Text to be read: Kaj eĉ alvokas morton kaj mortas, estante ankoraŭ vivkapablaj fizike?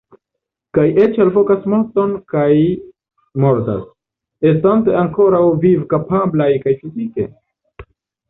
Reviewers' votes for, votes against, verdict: 0, 2, rejected